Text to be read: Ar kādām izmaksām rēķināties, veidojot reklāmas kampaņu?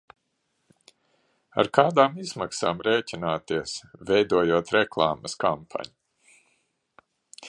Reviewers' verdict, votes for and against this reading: accepted, 2, 0